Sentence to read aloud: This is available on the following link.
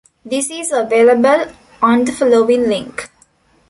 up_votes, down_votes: 3, 0